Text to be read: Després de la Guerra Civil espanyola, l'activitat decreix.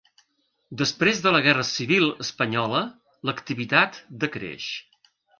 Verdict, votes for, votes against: accepted, 3, 0